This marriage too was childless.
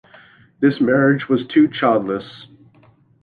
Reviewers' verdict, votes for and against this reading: rejected, 0, 2